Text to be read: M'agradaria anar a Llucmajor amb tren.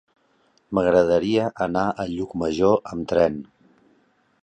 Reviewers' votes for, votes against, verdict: 3, 0, accepted